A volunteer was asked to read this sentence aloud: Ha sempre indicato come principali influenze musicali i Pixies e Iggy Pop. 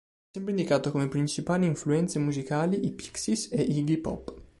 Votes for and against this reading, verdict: 1, 2, rejected